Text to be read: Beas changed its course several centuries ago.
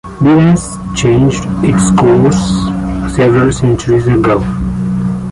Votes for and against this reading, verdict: 2, 0, accepted